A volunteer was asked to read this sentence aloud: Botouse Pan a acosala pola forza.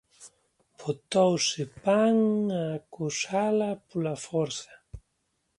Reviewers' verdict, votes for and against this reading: rejected, 0, 2